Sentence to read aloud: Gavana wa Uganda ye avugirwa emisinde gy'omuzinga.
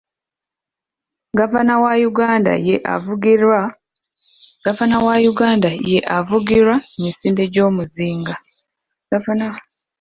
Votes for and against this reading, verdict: 0, 2, rejected